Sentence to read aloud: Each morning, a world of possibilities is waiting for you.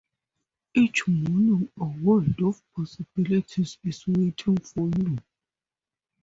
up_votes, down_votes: 2, 0